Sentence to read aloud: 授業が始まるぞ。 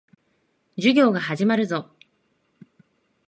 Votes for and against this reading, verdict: 20, 2, accepted